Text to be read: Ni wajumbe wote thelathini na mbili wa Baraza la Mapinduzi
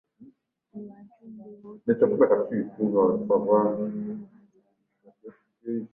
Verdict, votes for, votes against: rejected, 0, 2